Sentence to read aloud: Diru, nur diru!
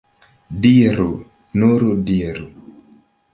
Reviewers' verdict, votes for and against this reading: accepted, 2, 0